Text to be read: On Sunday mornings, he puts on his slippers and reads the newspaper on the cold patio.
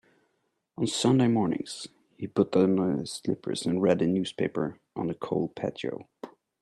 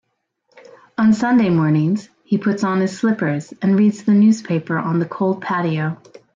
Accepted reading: second